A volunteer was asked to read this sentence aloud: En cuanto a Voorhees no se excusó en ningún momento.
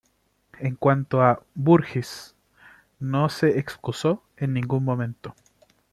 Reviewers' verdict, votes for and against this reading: accepted, 2, 0